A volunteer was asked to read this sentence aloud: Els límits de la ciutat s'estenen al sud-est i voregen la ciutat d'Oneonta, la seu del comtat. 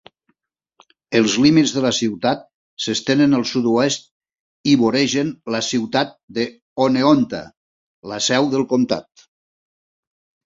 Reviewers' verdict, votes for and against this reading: rejected, 0, 2